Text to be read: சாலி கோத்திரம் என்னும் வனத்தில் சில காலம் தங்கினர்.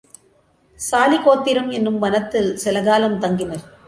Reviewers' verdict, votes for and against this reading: accepted, 2, 0